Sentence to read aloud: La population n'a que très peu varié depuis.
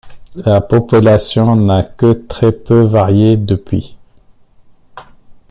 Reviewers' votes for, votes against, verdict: 0, 2, rejected